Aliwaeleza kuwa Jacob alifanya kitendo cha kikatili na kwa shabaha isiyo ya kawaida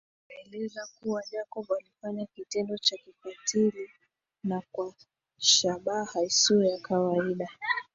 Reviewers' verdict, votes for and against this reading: accepted, 2, 1